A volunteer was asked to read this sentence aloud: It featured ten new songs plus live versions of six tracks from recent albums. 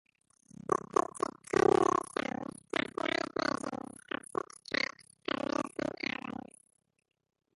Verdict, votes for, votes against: rejected, 0, 2